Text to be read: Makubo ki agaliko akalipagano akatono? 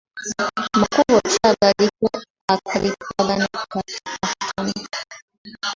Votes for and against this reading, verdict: 2, 1, accepted